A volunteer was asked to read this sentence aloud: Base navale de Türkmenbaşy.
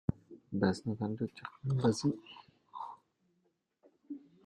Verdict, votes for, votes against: rejected, 1, 2